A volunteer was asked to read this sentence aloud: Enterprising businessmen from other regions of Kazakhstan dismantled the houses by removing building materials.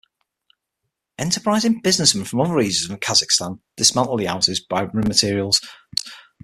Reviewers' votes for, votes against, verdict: 0, 6, rejected